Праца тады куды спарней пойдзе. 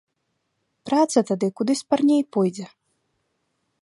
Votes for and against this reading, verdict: 2, 0, accepted